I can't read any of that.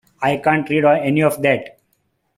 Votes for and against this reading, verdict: 0, 2, rejected